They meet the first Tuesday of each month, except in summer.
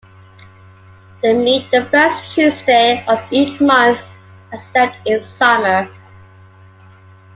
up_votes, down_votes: 2, 1